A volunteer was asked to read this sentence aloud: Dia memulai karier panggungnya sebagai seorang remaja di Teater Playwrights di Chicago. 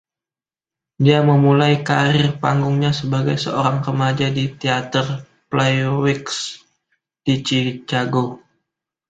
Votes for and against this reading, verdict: 0, 2, rejected